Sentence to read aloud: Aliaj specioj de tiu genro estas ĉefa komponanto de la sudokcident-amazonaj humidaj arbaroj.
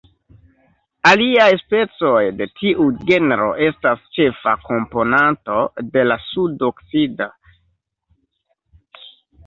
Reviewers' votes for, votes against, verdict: 1, 2, rejected